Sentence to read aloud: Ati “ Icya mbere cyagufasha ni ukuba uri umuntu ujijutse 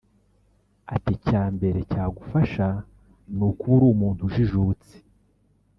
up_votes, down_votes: 1, 2